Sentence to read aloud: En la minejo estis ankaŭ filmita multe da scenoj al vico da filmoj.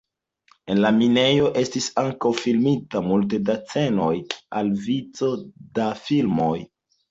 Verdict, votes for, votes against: accepted, 2, 0